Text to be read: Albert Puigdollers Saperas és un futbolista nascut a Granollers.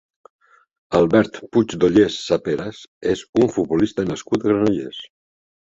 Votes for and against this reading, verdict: 3, 0, accepted